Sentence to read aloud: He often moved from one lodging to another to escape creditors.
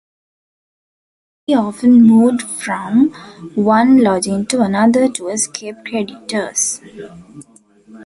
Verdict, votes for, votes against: accepted, 2, 0